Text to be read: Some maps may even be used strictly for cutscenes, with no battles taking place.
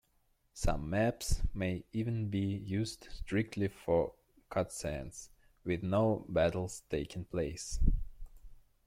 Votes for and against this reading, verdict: 2, 1, accepted